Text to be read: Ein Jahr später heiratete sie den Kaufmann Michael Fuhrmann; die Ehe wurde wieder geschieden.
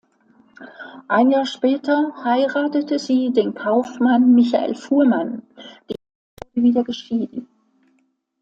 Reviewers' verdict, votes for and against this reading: rejected, 0, 2